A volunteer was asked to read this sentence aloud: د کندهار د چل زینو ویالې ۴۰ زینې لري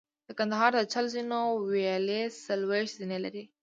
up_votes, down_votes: 0, 2